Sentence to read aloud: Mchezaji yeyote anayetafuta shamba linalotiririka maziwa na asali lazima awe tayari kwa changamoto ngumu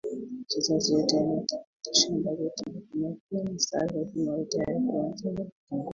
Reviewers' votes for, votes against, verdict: 1, 2, rejected